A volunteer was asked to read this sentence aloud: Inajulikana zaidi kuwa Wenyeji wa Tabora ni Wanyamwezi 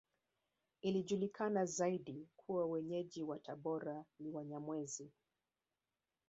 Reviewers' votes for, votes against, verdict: 3, 1, accepted